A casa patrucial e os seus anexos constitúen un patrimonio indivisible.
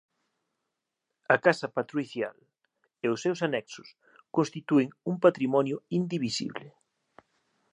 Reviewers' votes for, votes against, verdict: 1, 2, rejected